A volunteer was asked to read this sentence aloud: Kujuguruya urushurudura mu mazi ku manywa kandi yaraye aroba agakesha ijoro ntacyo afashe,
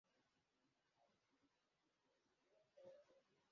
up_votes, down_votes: 0, 2